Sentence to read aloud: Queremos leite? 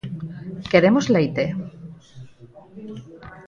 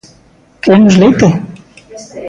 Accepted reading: first